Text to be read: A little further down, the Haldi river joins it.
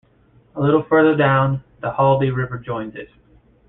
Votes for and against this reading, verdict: 1, 2, rejected